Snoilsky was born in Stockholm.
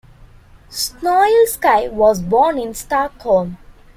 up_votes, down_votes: 2, 0